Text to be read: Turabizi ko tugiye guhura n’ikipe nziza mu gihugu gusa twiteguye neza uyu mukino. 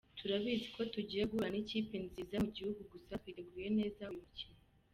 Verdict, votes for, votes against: rejected, 1, 2